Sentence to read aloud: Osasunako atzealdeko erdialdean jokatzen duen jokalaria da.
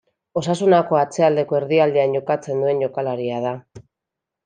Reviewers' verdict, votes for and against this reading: accepted, 2, 0